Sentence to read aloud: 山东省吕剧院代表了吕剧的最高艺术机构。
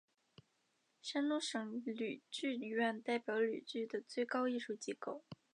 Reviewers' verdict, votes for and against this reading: accepted, 3, 0